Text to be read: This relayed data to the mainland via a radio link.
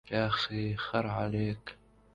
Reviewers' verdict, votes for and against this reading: rejected, 0, 2